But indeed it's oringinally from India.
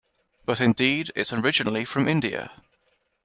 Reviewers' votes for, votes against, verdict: 1, 2, rejected